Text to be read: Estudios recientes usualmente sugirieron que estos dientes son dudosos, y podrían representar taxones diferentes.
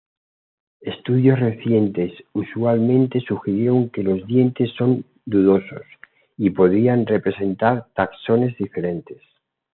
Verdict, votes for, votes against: rejected, 1, 2